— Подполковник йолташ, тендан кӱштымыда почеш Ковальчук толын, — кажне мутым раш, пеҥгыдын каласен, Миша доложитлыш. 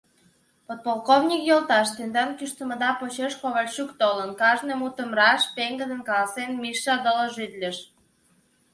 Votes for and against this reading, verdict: 2, 0, accepted